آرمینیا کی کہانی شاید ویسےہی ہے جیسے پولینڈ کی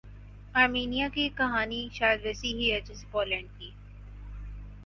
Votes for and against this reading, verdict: 4, 0, accepted